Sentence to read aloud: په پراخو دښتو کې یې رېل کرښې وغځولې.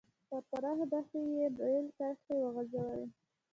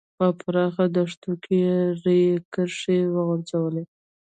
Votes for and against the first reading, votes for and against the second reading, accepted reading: 2, 0, 0, 3, first